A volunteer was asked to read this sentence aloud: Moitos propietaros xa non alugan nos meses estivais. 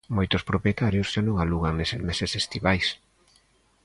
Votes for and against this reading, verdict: 0, 2, rejected